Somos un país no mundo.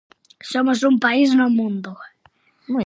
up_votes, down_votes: 0, 4